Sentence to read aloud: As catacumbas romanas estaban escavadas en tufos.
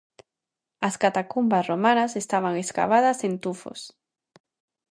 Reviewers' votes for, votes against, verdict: 2, 0, accepted